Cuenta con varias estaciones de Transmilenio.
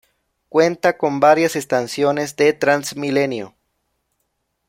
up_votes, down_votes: 0, 2